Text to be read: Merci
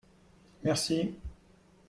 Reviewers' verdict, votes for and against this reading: accepted, 2, 0